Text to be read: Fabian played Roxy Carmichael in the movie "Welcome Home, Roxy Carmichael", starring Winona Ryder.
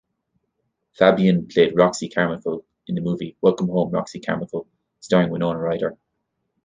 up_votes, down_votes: 1, 2